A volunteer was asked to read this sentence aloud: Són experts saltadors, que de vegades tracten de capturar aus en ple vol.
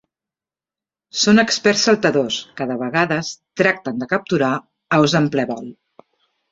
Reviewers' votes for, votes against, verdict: 2, 0, accepted